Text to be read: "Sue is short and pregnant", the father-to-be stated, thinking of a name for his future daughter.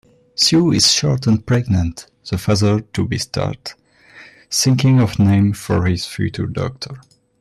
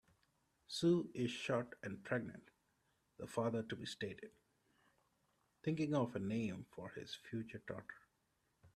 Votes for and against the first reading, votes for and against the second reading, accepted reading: 0, 2, 2, 0, second